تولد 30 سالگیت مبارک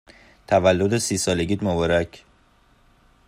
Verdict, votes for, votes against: rejected, 0, 2